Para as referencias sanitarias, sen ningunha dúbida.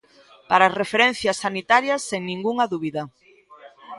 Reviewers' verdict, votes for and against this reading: rejected, 1, 2